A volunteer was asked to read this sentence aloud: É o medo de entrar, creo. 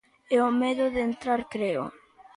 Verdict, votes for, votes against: accepted, 2, 0